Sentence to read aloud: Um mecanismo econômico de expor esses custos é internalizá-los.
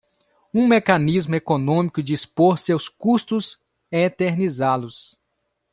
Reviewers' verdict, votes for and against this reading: rejected, 0, 2